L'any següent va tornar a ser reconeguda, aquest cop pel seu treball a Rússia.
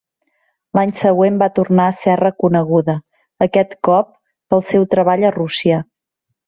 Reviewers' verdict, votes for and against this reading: accepted, 4, 1